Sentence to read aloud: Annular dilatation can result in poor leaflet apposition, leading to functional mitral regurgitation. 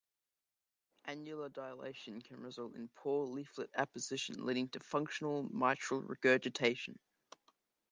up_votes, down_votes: 2, 0